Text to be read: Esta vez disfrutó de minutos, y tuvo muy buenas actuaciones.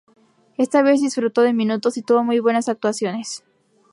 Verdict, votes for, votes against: accepted, 2, 0